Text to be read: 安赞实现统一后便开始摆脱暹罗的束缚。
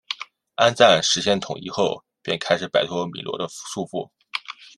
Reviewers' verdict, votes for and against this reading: rejected, 0, 2